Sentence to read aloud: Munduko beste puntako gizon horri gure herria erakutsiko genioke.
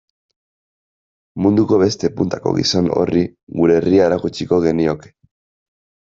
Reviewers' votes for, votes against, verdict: 2, 0, accepted